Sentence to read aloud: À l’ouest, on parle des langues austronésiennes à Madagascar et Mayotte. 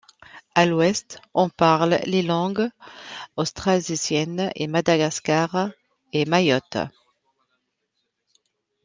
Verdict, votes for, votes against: rejected, 0, 2